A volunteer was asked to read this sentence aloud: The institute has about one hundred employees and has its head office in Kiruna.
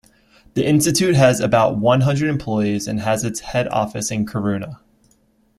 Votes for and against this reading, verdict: 2, 0, accepted